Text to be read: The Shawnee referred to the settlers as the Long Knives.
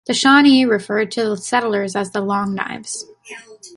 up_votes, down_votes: 2, 0